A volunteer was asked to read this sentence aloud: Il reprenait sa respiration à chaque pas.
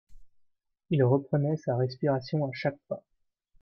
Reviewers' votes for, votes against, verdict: 2, 1, accepted